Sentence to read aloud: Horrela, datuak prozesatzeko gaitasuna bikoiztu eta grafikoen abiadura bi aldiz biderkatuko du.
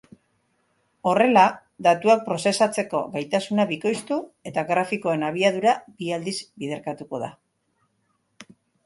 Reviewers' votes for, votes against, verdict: 1, 2, rejected